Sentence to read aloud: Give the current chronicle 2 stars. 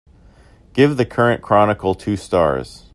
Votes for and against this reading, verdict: 0, 2, rejected